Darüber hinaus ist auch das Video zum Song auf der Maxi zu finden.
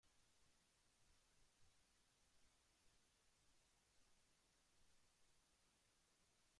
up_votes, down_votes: 0, 2